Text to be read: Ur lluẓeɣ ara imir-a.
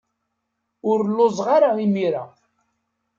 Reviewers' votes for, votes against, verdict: 2, 0, accepted